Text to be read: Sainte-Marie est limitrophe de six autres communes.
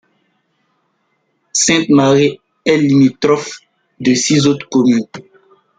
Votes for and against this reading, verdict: 1, 2, rejected